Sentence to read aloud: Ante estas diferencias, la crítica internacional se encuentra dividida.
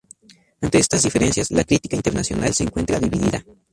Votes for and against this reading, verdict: 2, 0, accepted